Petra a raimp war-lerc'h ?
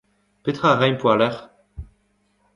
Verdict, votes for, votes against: accepted, 2, 0